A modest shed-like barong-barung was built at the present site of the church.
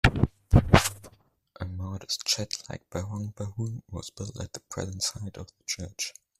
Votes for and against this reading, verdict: 0, 2, rejected